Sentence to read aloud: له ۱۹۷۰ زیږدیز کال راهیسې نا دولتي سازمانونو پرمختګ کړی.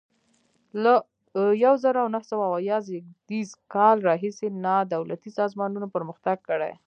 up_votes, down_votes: 0, 2